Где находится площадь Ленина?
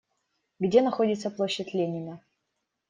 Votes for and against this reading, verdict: 2, 0, accepted